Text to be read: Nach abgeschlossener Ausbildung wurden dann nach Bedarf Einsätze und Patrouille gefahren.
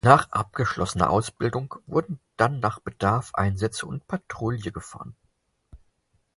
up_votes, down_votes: 0, 4